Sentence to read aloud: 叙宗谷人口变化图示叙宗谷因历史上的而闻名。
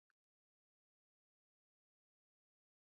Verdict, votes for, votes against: rejected, 0, 5